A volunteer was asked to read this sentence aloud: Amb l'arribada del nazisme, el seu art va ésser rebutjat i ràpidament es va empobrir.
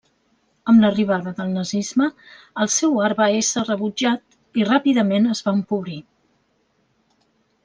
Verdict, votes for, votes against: accepted, 2, 0